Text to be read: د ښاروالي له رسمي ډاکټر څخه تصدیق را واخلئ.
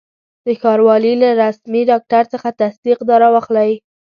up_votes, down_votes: 2, 0